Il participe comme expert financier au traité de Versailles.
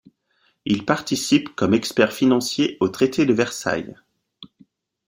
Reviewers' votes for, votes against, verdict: 2, 0, accepted